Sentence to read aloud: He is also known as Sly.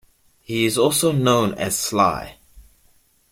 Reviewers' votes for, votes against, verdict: 2, 0, accepted